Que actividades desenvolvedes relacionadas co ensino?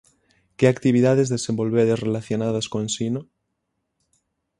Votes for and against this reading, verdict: 6, 0, accepted